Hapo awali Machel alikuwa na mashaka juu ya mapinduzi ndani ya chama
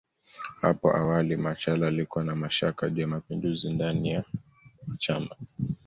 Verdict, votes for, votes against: accepted, 2, 0